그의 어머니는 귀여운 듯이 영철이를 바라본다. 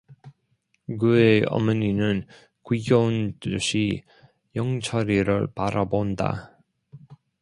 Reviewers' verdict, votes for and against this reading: rejected, 0, 2